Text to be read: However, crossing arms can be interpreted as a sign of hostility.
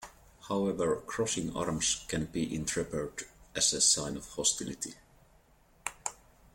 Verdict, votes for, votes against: rejected, 0, 2